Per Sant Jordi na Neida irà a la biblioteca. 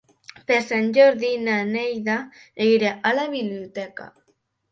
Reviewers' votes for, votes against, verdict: 1, 2, rejected